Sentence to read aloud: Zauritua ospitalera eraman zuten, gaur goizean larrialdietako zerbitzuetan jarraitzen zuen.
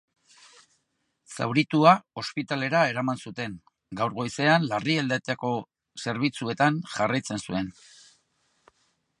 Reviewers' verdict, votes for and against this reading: rejected, 0, 2